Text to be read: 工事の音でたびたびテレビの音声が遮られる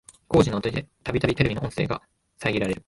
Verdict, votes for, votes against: rejected, 0, 2